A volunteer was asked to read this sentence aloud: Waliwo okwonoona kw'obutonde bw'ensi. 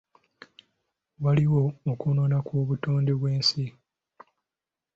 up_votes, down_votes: 2, 0